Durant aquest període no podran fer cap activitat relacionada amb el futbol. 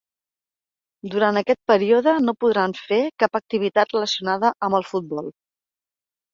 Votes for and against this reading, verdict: 4, 0, accepted